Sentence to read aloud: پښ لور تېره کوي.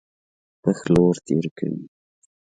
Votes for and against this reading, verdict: 0, 2, rejected